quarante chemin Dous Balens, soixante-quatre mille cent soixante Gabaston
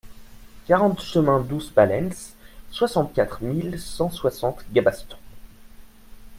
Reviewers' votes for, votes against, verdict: 2, 1, accepted